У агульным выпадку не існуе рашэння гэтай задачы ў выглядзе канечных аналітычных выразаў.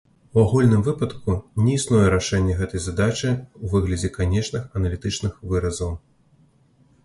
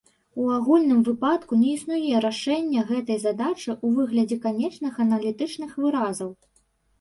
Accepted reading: first